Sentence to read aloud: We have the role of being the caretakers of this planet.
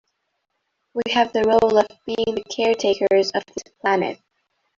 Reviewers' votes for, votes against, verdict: 1, 2, rejected